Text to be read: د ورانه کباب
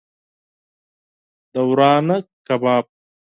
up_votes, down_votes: 4, 0